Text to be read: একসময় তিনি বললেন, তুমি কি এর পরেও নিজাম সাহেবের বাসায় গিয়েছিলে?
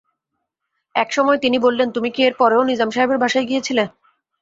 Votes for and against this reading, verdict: 1, 2, rejected